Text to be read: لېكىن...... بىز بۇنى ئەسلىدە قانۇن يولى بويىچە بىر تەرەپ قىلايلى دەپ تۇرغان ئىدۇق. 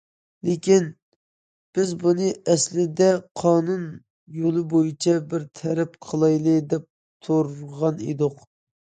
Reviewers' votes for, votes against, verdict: 2, 0, accepted